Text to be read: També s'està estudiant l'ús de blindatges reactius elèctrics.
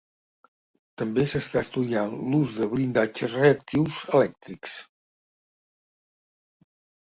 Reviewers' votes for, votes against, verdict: 2, 0, accepted